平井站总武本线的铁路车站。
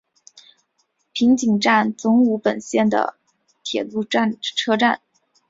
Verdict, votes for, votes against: accepted, 4, 0